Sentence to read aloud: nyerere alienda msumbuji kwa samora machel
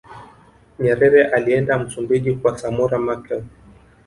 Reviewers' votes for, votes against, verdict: 2, 0, accepted